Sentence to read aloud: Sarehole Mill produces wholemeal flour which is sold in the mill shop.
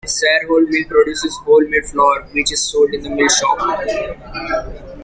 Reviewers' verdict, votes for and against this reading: accepted, 2, 1